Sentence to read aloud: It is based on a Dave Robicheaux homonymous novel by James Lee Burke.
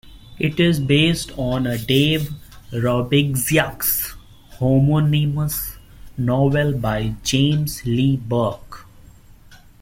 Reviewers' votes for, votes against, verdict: 1, 2, rejected